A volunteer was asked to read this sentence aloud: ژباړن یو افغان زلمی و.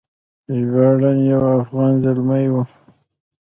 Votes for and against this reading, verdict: 1, 2, rejected